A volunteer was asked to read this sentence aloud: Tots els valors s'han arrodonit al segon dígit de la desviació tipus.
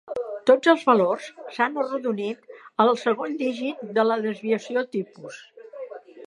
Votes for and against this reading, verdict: 2, 0, accepted